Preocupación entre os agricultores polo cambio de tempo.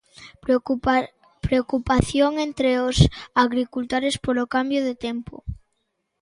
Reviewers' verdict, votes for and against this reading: rejected, 0, 2